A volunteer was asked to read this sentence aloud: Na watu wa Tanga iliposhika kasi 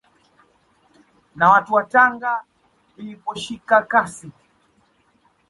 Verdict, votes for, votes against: accepted, 2, 0